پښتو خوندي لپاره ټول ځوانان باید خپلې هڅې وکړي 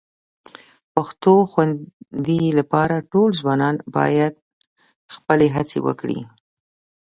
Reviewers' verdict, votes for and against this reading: accepted, 2, 1